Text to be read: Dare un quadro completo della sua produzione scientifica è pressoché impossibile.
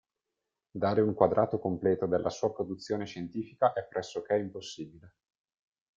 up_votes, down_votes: 0, 2